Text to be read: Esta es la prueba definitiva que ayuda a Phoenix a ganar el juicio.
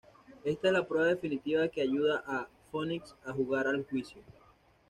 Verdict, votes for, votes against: rejected, 1, 2